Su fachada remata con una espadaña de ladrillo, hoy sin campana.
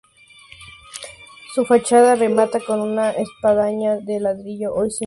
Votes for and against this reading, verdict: 0, 4, rejected